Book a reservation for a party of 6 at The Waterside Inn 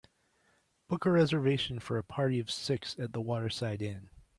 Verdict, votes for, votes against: rejected, 0, 2